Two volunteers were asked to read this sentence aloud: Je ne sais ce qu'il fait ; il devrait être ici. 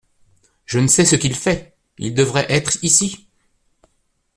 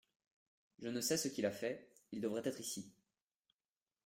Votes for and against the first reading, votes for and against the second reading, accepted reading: 2, 0, 0, 2, first